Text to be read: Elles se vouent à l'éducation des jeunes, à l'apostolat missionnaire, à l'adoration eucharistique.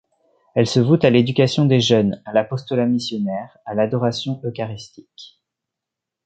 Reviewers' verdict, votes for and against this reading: accepted, 2, 0